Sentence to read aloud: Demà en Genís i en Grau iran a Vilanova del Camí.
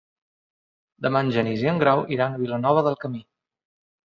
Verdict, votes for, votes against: accepted, 2, 0